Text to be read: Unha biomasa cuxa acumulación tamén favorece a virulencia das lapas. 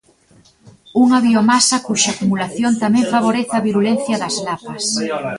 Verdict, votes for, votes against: rejected, 0, 2